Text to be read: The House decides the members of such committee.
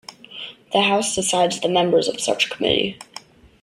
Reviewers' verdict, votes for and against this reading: accepted, 2, 1